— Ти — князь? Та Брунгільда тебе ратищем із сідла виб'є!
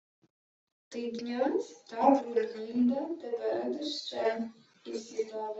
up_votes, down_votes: 0, 2